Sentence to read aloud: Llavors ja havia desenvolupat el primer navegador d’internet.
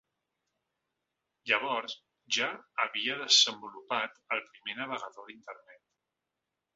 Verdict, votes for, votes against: accepted, 3, 0